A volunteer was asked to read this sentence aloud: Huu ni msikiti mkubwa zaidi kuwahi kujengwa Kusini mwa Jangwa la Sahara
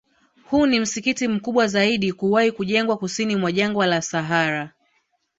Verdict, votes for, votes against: accepted, 2, 0